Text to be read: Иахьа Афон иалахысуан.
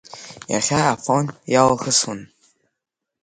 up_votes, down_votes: 4, 0